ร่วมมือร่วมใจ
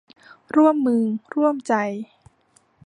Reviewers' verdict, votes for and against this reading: accepted, 2, 0